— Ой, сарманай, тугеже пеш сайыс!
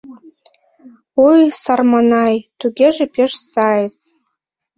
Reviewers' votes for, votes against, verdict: 2, 0, accepted